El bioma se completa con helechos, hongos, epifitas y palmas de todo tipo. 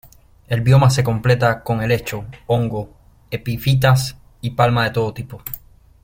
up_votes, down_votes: 1, 2